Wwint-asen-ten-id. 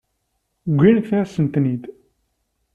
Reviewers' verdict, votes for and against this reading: accepted, 2, 0